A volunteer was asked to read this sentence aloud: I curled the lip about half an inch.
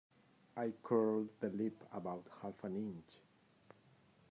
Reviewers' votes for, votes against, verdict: 2, 0, accepted